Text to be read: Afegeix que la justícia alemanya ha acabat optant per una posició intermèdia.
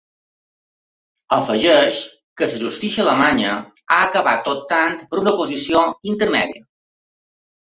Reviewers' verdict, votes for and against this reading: accepted, 2, 0